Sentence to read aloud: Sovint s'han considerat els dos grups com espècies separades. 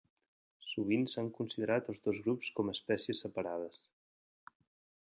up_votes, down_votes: 2, 0